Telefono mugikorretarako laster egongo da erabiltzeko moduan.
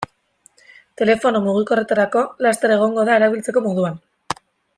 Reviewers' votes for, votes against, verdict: 2, 0, accepted